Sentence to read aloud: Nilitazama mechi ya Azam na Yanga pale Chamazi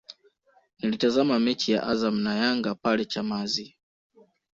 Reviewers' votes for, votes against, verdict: 1, 2, rejected